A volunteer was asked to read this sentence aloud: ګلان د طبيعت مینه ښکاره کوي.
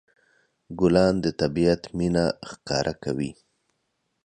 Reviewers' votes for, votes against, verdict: 2, 0, accepted